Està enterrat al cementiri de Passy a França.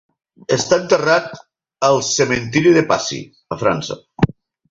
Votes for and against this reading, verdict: 6, 0, accepted